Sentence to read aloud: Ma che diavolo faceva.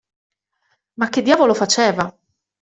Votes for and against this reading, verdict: 2, 0, accepted